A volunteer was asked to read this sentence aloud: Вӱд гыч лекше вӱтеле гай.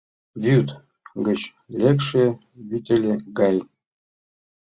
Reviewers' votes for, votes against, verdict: 2, 0, accepted